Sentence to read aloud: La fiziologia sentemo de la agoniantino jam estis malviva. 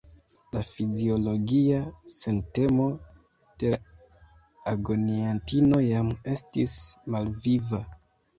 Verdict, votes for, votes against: accepted, 2, 1